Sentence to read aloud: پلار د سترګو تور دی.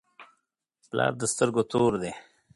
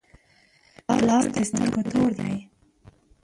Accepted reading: first